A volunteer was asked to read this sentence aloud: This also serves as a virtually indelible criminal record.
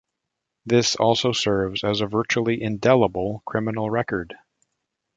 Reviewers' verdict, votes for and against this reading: accepted, 2, 0